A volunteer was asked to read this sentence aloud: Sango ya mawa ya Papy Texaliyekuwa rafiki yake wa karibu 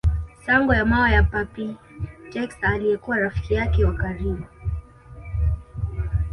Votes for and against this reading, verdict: 2, 0, accepted